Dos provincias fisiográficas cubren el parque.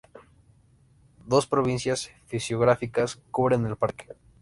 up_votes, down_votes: 2, 0